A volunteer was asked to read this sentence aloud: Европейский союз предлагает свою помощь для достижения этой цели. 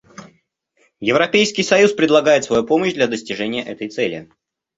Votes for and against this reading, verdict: 2, 0, accepted